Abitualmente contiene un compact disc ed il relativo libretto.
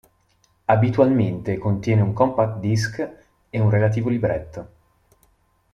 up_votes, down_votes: 0, 2